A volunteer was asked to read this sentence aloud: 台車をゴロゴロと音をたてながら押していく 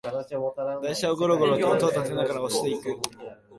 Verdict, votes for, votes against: rejected, 0, 2